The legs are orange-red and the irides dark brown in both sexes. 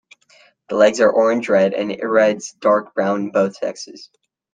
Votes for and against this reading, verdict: 0, 2, rejected